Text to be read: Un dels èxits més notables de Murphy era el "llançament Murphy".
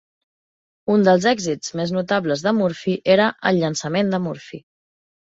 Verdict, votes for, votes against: rejected, 0, 2